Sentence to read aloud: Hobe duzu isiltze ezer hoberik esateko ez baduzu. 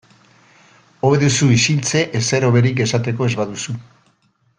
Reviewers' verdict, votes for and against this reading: accepted, 2, 0